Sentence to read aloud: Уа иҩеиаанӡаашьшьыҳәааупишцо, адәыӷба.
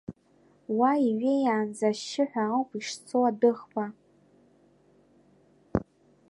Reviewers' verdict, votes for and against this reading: rejected, 0, 2